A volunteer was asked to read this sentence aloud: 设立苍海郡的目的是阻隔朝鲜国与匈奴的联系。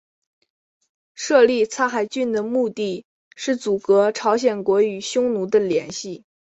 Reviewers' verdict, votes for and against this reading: accepted, 2, 1